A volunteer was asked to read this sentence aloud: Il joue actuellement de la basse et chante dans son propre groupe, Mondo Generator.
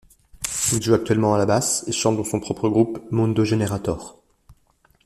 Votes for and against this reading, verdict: 1, 2, rejected